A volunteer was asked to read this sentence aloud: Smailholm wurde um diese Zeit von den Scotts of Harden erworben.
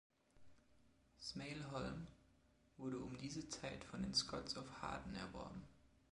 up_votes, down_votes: 2, 0